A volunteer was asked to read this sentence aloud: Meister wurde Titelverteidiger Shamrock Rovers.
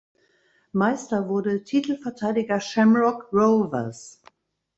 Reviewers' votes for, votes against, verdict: 2, 0, accepted